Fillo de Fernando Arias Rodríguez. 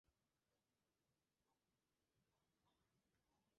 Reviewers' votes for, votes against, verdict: 0, 4, rejected